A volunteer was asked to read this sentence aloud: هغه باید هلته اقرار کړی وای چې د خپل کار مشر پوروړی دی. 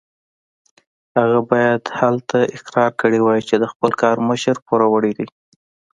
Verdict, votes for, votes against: accepted, 2, 0